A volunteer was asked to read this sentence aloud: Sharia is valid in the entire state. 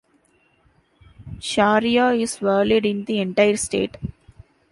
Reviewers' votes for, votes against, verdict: 2, 1, accepted